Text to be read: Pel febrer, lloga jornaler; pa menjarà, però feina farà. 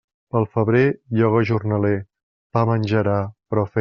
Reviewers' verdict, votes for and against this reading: rejected, 0, 2